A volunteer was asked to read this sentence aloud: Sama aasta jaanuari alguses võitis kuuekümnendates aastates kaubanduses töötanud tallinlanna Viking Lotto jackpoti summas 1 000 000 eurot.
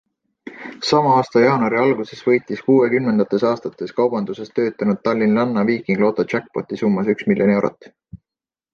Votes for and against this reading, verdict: 0, 2, rejected